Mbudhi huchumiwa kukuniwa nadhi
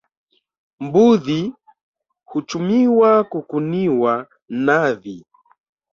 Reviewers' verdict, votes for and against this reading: accepted, 3, 2